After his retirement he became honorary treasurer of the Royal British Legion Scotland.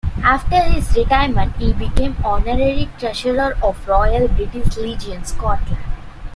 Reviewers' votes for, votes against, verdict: 1, 2, rejected